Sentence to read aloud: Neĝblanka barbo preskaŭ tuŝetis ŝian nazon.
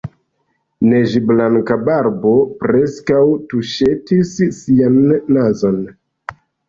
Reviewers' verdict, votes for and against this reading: accepted, 2, 1